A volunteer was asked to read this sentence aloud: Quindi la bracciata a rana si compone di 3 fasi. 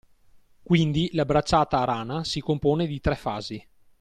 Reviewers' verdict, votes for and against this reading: rejected, 0, 2